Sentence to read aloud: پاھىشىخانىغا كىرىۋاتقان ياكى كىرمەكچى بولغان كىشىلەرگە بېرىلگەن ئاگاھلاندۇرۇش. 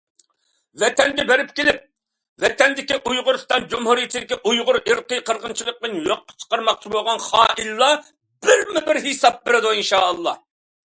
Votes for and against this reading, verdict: 0, 2, rejected